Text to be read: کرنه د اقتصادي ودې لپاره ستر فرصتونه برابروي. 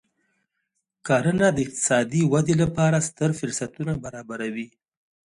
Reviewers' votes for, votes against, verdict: 2, 0, accepted